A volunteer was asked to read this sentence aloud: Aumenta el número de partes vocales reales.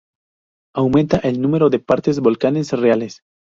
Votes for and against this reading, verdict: 0, 2, rejected